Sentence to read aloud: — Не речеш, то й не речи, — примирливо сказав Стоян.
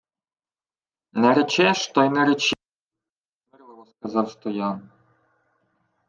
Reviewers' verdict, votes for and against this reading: rejected, 0, 2